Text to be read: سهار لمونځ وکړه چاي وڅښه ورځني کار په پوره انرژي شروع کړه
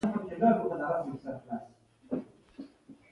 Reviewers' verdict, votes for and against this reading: accepted, 2, 0